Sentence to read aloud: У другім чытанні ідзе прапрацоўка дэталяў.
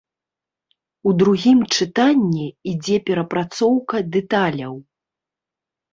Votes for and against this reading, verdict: 1, 2, rejected